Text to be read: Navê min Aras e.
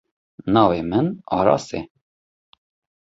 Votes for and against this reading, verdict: 2, 0, accepted